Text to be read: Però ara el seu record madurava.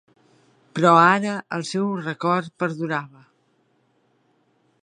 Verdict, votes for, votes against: rejected, 0, 2